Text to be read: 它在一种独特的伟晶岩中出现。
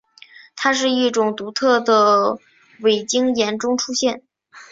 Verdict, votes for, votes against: accepted, 6, 3